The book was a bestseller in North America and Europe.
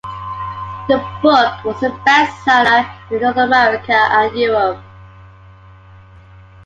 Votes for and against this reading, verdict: 2, 0, accepted